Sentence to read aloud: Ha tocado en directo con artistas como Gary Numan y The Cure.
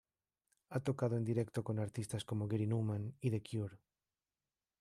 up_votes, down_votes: 1, 2